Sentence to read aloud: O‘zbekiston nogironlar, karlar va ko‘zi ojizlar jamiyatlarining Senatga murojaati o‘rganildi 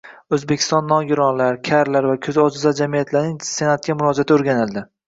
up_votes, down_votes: 1, 2